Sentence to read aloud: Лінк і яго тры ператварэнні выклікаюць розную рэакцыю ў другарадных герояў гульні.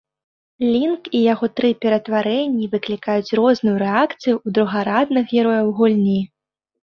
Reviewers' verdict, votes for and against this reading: accepted, 2, 0